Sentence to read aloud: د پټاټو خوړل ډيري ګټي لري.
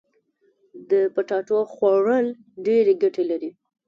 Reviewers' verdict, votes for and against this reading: accepted, 3, 1